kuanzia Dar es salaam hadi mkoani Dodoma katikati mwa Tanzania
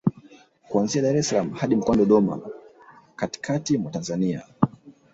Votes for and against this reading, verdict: 0, 2, rejected